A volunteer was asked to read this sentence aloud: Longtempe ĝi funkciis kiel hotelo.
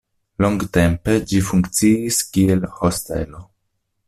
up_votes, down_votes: 0, 2